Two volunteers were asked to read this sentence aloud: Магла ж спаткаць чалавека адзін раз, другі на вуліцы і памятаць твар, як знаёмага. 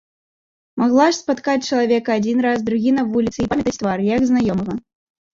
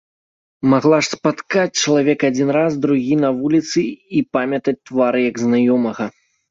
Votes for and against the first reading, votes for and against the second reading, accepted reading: 1, 2, 2, 0, second